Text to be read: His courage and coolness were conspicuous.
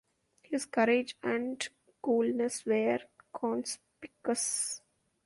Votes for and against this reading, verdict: 1, 2, rejected